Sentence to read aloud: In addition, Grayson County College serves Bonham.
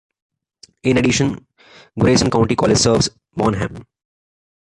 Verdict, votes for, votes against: accepted, 2, 0